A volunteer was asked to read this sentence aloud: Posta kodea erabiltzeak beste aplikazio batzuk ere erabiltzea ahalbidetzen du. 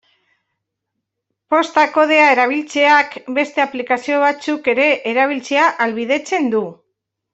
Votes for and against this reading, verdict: 1, 2, rejected